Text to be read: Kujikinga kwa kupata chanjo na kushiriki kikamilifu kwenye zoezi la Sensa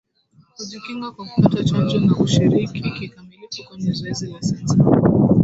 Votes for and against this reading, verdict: 0, 2, rejected